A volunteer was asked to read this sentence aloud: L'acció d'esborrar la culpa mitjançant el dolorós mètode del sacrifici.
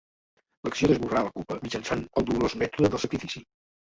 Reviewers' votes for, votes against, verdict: 1, 2, rejected